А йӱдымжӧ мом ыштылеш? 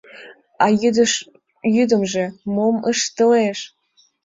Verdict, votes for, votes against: rejected, 1, 2